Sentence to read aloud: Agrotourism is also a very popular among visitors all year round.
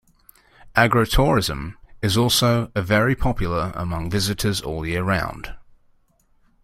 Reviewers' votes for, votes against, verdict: 0, 2, rejected